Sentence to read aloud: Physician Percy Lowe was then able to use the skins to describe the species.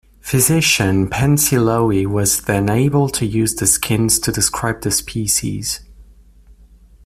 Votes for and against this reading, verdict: 0, 2, rejected